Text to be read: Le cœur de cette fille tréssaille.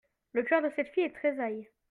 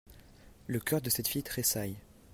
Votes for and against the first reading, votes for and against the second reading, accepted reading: 1, 2, 2, 0, second